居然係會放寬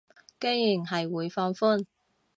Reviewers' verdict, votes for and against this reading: rejected, 1, 2